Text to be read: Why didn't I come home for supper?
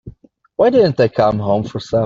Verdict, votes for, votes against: rejected, 0, 2